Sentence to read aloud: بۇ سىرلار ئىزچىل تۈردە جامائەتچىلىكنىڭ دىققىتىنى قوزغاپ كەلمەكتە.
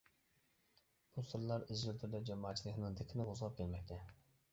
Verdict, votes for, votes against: rejected, 1, 2